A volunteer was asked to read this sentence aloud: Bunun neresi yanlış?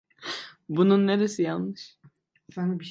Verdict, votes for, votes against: rejected, 1, 2